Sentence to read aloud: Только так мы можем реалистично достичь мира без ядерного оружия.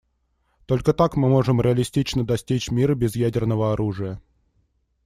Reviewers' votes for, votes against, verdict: 2, 0, accepted